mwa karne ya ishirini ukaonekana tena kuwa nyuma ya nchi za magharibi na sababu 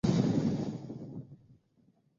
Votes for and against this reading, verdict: 0, 2, rejected